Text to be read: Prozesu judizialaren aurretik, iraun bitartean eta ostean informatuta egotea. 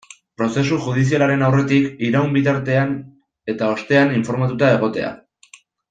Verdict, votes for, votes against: accepted, 2, 0